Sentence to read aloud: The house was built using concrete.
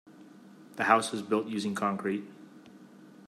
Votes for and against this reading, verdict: 2, 0, accepted